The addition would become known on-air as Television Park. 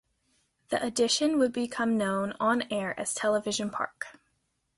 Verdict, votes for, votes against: accepted, 2, 0